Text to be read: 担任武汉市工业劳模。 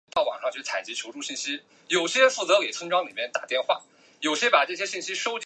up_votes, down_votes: 0, 2